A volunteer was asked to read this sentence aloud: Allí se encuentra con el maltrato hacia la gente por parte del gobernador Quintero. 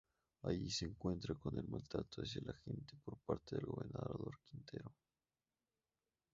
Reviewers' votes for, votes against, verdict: 0, 2, rejected